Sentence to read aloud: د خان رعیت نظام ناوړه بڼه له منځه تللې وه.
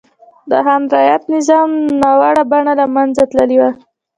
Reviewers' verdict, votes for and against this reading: rejected, 1, 2